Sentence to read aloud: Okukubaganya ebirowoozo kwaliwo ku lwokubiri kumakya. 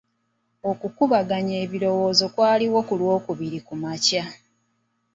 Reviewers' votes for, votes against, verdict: 2, 0, accepted